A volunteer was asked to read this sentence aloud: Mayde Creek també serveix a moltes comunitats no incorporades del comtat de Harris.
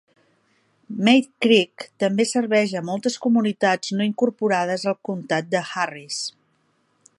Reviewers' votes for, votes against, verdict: 0, 2, rejected